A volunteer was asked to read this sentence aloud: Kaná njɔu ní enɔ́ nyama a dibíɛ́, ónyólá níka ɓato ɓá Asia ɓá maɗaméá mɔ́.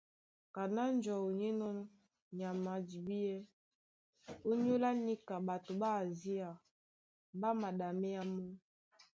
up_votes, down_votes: 2, 0